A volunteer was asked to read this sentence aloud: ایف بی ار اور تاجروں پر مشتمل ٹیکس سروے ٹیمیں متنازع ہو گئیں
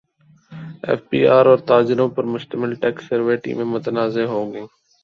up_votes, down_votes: 0, 2